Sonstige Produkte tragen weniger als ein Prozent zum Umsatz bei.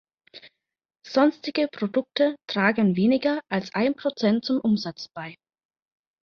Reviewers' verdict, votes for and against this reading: accepted, 2, 0